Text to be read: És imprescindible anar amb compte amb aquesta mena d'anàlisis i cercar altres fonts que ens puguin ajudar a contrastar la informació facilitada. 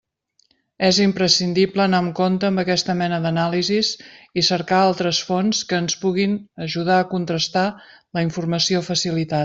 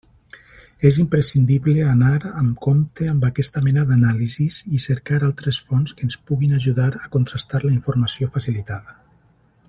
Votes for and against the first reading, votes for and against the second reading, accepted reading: 1, 2, 2, 0, second